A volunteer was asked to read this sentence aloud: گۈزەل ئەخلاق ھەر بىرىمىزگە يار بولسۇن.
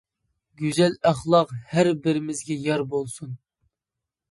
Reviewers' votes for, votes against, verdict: 2, 0, accepted